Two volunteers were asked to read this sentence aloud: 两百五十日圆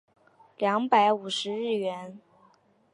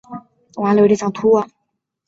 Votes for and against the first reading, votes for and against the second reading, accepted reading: 2, 0, 0, 2, first